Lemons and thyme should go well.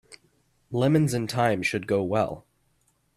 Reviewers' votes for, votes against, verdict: 2, 0, accepted